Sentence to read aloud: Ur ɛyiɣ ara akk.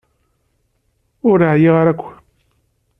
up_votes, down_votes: 3, 0